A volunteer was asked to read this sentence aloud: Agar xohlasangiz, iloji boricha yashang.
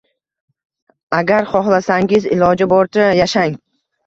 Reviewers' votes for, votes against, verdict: 2, 0, accepted